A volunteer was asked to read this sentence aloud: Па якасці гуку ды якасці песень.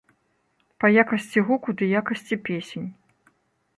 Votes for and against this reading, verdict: 3, 0, accepted